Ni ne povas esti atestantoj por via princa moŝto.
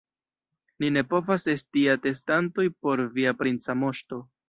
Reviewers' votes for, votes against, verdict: 2, 0, accepted